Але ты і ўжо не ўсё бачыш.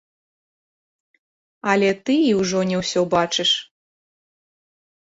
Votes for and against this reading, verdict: 1, 2, rejected